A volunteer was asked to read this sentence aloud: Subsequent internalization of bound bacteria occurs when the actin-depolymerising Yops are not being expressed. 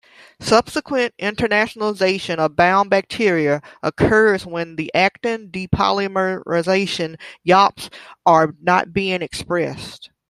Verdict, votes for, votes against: rejected, 0, 2